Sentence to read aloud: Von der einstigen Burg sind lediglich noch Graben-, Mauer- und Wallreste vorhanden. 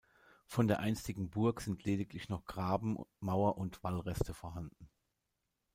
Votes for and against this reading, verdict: 1, 2, rejected